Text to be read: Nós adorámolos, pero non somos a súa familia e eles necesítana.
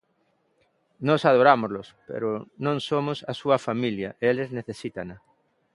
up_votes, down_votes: 2, 0